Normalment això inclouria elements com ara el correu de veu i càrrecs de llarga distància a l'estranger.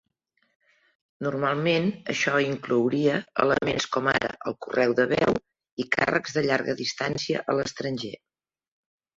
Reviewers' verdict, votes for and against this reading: rejected, 1, 2